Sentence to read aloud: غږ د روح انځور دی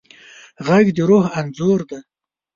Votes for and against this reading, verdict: 3, 0, accepted